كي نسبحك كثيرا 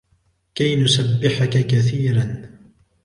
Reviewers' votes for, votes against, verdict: 2, 0, accepted